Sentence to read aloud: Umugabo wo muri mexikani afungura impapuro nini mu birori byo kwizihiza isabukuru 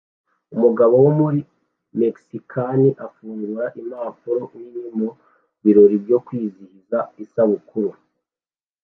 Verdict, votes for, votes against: accepted, 2, 0